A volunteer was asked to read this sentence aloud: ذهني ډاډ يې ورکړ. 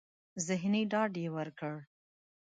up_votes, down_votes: 3, 0